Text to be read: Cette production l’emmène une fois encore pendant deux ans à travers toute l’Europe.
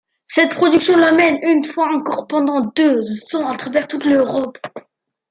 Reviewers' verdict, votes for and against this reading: accepted, 2, 1